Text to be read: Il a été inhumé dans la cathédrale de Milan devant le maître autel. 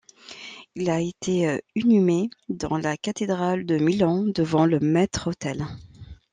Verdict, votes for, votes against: rejected, 1, 2